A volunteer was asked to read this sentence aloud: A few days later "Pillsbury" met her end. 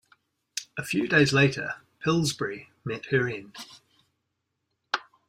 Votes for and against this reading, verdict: 2, 0, accepted